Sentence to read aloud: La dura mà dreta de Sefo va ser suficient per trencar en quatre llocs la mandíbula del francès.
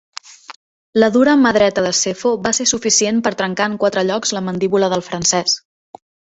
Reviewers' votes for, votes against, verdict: 2, 0, accepted